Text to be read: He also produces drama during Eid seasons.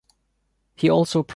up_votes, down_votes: 1, 2